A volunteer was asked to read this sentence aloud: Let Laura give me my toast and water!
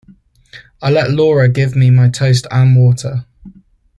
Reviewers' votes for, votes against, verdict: 0, 2, rejected